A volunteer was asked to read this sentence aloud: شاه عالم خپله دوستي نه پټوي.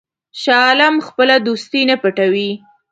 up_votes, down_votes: 2, 0